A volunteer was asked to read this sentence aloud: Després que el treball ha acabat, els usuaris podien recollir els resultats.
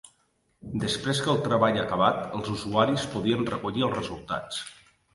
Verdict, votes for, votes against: accepted, 3, 0